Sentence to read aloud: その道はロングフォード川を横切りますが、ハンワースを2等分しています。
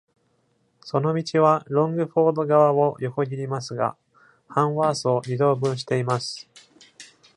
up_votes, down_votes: 0, 2